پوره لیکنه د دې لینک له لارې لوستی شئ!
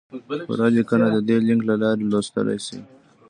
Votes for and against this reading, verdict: 2, 1, accepted